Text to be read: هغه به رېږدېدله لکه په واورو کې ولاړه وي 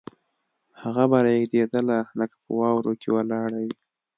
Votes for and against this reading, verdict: 2, 0, accepted